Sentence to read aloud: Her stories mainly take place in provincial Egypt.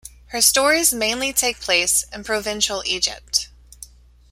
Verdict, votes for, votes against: accepted, 2, 0